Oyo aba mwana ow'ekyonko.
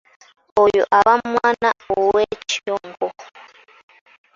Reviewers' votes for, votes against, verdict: 1, 2, rejected